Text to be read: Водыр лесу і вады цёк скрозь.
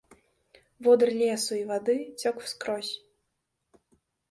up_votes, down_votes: 2, 0